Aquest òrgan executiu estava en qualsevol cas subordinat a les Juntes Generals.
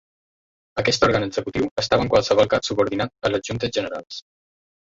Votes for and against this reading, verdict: 0, 2, rejected